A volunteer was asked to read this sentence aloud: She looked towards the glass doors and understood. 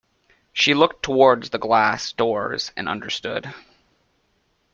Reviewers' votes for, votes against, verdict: 2, 0, accepted